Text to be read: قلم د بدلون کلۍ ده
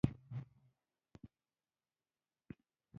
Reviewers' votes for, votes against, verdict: 2, 0, accepted